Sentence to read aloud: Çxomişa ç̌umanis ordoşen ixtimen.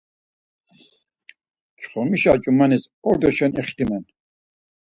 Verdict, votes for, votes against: accepted, 4, 0